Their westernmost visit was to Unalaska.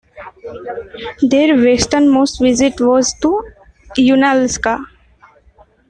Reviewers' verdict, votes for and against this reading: rejected, 1, 2